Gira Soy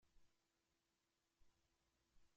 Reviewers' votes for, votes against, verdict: 0, 2, rejected